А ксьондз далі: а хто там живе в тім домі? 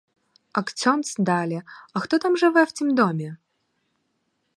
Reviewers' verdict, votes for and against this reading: rejected, 2, 4